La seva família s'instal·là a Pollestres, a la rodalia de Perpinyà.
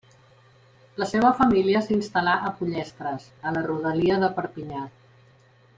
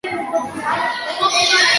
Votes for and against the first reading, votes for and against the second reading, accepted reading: 2, 0, 0, 2, first